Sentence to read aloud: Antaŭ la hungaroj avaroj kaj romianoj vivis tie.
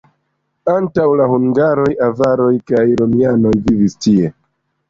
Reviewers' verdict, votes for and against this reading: accepted, 2, 1